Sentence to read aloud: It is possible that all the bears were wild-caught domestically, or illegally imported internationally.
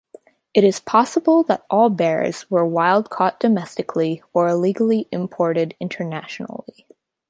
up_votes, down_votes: 0, 2